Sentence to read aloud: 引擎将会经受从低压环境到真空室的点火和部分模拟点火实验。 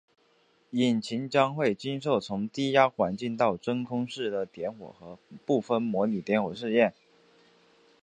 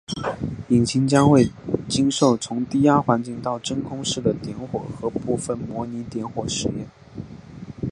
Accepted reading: second